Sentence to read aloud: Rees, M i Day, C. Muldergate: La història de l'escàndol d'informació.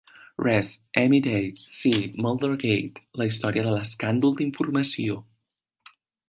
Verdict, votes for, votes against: accepted, 2, 0